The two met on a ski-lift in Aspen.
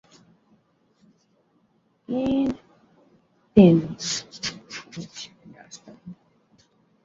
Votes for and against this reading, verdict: 0, 2, rejected